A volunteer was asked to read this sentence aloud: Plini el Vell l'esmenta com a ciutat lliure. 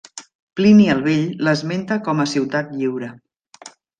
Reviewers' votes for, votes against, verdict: 2, 0, accepted